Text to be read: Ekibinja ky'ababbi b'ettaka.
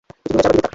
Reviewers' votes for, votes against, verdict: 0, 2, rejected